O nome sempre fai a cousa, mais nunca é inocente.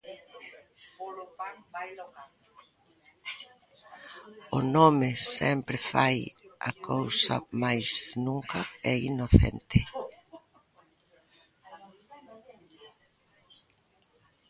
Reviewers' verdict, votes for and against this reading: rejected, 0, 2